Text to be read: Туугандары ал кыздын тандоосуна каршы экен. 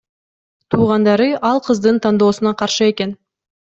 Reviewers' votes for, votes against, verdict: 2, 0, accepted